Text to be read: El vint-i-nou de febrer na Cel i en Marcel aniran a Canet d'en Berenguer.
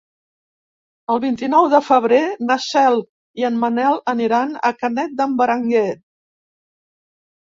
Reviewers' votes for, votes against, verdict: 1, 3, rejected